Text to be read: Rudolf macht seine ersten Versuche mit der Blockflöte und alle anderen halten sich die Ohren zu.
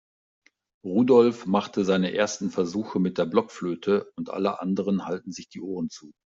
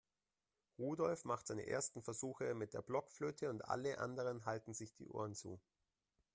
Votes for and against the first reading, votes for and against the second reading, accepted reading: 1, 2, 2, 0, second